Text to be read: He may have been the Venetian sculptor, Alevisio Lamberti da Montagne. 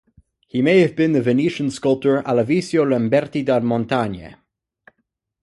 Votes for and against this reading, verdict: 12, 0, accepted